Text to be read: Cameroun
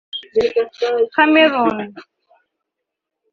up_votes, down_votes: 0, 2